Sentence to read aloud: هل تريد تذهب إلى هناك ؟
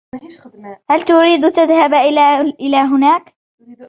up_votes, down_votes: 1, 2